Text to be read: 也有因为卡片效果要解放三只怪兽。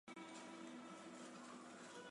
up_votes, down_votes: 2, 3